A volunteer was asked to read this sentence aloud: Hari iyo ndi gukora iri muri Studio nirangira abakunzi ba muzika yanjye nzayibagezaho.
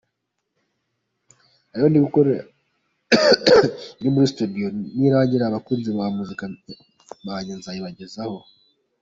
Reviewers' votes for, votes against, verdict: 2, 1, accepted